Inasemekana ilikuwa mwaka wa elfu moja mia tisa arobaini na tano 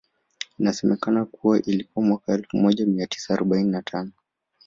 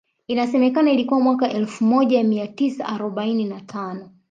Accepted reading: second